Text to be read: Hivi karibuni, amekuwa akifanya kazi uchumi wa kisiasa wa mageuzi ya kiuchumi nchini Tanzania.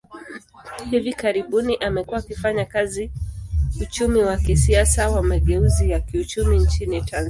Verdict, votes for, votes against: rejected, 0, 2